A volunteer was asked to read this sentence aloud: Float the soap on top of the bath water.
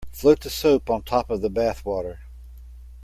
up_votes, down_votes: 2, 0